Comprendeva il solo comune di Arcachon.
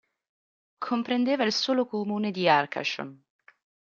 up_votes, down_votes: 2, 0